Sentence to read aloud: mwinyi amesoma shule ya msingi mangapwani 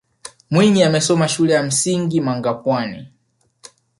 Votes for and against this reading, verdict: 0, 2, rejected